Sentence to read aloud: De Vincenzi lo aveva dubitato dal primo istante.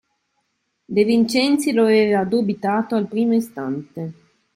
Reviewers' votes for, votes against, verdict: 2, 3, rejected